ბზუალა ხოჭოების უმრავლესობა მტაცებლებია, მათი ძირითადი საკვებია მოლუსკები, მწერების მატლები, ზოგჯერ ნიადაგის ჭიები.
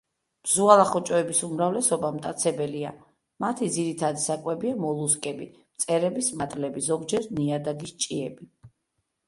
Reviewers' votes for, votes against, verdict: 0, 2, rejected